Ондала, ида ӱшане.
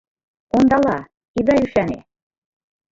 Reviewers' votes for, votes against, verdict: 2, 1, accepted